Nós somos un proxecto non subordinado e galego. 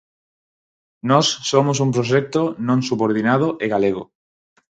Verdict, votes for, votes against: accepted, 4, 0